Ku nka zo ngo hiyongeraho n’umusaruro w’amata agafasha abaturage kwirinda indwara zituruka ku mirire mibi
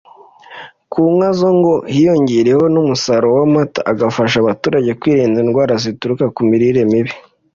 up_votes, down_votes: 2, 0